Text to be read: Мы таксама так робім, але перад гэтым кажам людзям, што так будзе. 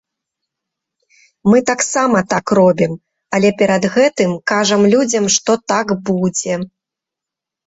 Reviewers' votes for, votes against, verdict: 2, 0, accepted